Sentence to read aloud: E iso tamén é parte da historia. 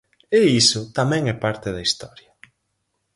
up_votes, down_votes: 4, 0